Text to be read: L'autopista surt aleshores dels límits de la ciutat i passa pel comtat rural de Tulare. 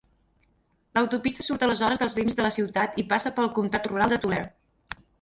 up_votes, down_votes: 0, 4